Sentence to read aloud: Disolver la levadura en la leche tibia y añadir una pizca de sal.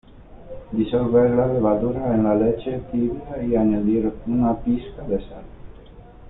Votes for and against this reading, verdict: 0, 2, rejected